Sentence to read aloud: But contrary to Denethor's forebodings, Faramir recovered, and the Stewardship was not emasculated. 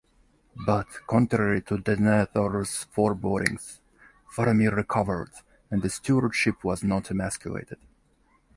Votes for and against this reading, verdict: 2, 0, accepted